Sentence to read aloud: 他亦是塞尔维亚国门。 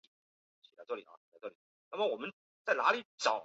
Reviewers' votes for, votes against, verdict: 0, 2, rejected